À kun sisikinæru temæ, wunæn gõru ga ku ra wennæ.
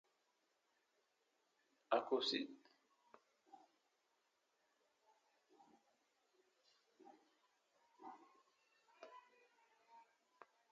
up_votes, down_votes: 0, 2